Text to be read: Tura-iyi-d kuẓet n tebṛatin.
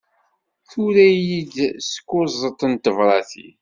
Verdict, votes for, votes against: rejected, 1, 2